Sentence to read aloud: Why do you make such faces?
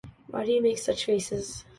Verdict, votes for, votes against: accepted, 2, 0